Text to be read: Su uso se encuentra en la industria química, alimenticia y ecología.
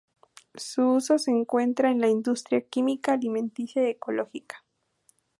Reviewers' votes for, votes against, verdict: 2, 2, rejected